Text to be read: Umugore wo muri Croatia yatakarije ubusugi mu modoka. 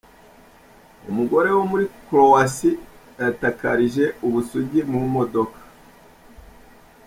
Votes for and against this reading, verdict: 2, 0, accepted